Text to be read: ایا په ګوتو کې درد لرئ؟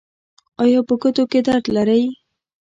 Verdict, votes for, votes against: rejected, 1, 2